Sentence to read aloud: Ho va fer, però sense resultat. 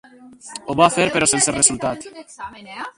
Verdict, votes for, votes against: rejected, 2, 4